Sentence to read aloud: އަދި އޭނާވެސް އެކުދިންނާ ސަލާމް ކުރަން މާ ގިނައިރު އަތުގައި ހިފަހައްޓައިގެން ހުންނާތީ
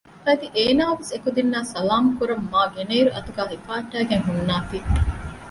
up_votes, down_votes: 2, 0